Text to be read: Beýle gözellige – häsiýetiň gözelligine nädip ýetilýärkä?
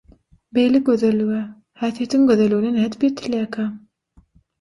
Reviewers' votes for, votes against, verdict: 6, 0, accepted